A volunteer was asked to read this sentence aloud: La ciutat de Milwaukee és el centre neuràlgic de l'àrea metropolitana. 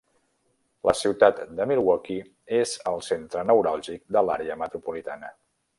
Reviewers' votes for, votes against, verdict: 3, 0, accepted